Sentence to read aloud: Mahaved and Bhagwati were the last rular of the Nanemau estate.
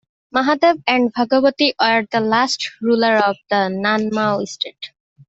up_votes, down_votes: 0, 2